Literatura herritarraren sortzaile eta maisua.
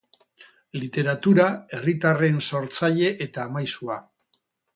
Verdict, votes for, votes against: rejected, 0, 6